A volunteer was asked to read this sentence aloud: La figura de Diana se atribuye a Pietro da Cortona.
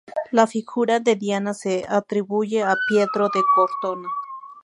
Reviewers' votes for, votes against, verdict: 2, 2, rejected